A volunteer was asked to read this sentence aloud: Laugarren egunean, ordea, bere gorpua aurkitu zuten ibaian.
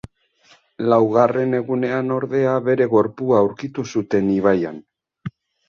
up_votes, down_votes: 0, 2